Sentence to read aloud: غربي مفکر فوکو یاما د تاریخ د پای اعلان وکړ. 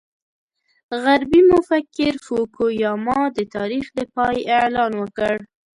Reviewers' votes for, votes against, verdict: 2, 0, accepted